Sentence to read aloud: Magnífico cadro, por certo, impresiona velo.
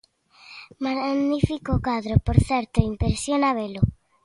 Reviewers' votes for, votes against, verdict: 2, 0, accepted